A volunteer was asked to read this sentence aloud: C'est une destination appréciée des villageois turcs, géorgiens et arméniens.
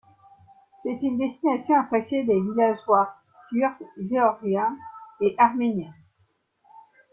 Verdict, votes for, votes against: rejected, 1, 2